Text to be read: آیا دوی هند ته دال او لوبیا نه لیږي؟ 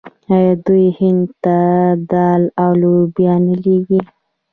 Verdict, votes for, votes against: rejected, 1, 2